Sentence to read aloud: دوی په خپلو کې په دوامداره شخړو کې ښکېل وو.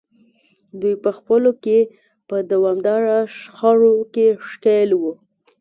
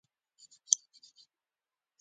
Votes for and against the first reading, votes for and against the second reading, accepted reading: 2, 0, 0, 2, first